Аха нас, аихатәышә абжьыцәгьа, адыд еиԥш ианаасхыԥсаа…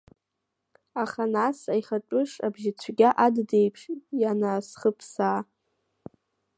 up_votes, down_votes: 0, 2